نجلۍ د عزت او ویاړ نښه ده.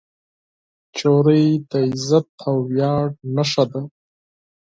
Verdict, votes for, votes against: rejected, 2, 4